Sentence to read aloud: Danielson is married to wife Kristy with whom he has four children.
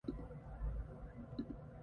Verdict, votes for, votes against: rejected, 0, 2